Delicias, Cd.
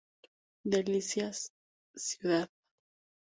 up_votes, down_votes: 2, 0